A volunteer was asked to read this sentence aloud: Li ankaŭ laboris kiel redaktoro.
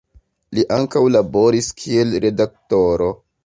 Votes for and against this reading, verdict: 0, 2, rejected